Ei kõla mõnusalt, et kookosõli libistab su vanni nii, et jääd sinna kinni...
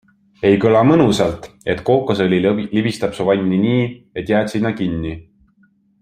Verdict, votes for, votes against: rejected, 1, 2